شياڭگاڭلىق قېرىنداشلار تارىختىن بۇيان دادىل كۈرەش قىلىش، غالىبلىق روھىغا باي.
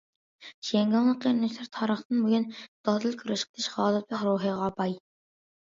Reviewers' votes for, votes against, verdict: 0, 2, rejected